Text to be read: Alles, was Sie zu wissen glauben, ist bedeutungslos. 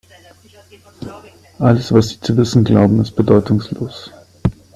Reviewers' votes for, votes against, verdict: 2, 0, accepted